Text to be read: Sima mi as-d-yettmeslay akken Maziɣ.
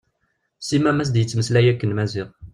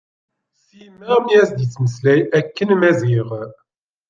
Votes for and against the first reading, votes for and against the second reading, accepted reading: 2, 0, 0, 2, first